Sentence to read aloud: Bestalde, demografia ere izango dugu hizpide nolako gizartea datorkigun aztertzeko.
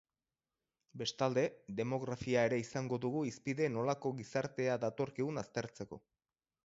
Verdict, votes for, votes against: accepted, 6, 0